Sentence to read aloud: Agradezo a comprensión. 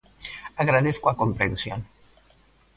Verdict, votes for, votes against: rejected, 0, 2